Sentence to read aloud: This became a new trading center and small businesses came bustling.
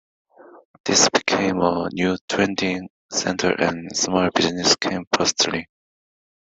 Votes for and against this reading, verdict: 2, 3, rejected